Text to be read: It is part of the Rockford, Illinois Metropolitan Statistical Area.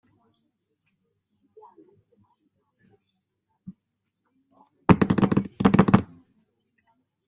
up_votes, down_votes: 0, 2